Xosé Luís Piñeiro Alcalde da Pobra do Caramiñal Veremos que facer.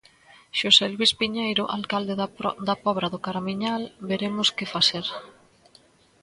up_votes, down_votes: 0, 2